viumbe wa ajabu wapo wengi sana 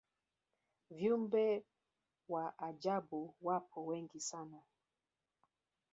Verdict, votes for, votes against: accepted, 2, 1